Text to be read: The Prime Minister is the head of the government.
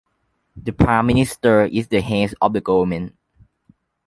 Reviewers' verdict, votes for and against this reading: accepted, 2, 1